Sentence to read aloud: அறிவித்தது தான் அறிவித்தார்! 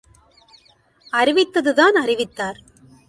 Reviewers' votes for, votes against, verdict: 2, 0, accepted